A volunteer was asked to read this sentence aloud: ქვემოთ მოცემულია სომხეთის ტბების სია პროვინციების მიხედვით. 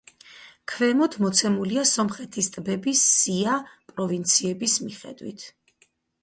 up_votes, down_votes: 2, 2